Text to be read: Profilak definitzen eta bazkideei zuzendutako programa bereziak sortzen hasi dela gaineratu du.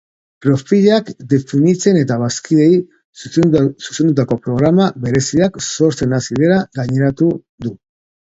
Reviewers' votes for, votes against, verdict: 2, 0, accepted